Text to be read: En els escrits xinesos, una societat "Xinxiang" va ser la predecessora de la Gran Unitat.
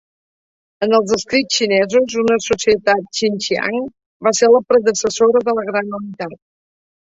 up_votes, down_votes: 1, 2